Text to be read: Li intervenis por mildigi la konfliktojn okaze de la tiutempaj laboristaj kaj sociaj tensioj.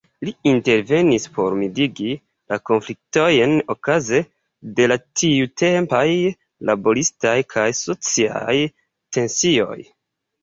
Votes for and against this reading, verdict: 2, 0, accepted